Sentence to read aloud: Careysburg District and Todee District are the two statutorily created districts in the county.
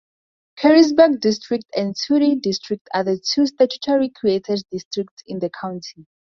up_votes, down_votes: 4, 0